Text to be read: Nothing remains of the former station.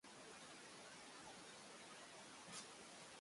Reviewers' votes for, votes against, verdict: 0, 2, rejected